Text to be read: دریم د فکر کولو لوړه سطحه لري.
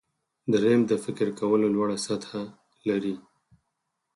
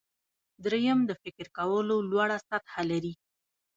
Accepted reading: first